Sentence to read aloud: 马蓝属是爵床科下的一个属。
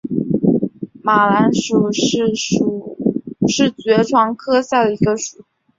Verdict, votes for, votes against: rejected, 0, 4